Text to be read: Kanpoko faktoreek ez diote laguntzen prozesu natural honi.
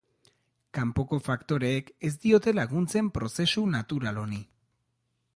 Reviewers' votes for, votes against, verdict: 2, 0, accepted